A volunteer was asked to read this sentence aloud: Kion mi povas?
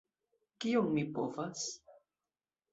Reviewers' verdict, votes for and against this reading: accepted, 2, 1